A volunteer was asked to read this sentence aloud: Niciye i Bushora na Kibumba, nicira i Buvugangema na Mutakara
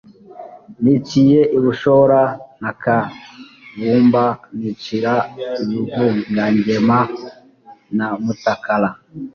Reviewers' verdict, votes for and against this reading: rejected, 1, 2